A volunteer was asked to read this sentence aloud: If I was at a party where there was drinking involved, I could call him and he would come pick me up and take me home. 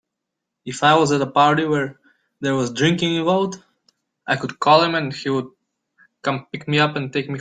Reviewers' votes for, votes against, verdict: 0, 2, rejected